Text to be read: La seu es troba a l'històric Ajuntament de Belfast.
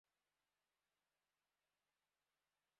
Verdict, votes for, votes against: rejected, 0, 2